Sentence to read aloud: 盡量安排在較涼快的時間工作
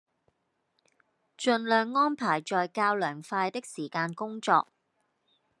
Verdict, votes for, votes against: accepted, 2, 0